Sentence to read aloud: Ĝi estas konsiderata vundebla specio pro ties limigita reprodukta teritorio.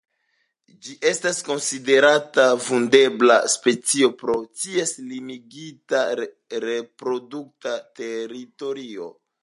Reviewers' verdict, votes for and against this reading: accepted, 2, 0